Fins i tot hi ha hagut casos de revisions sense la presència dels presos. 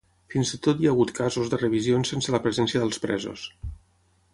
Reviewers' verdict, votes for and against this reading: accepted, 6, 0